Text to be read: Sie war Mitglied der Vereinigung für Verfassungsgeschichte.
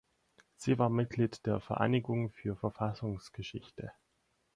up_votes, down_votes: 4, 0